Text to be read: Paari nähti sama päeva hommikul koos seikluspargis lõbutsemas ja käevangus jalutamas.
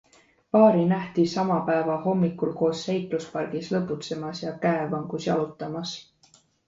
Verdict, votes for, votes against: accepted, 2, 0